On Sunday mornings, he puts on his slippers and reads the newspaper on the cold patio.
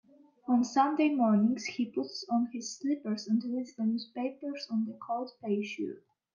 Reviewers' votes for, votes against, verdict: 0, 2, rejected